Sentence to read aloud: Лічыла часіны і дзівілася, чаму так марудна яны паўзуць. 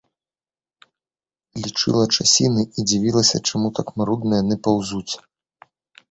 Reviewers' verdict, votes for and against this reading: accepted, 2, 0